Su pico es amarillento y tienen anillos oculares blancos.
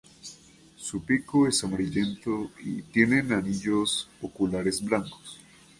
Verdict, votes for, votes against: accepted, 2, 0